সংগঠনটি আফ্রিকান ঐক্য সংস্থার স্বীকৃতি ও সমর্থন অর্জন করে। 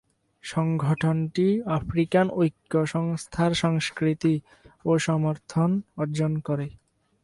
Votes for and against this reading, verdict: 0, 2, rejected